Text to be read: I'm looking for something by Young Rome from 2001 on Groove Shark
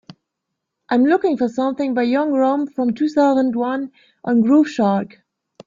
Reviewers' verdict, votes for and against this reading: rejected, 0, 2